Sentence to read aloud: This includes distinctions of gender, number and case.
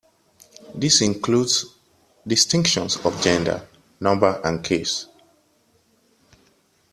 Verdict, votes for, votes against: accepted, 2, 0